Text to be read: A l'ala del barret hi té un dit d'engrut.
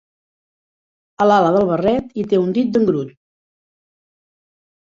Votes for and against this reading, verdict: 2, 0, accepted